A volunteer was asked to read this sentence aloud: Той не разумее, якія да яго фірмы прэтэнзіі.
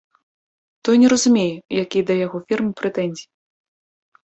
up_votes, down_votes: 1, 2